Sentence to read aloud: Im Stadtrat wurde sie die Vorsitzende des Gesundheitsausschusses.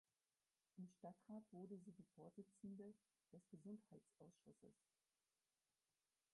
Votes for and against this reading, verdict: 0, 4, rejected